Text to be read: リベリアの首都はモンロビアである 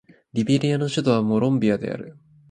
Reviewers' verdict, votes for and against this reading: accepted, 2, 0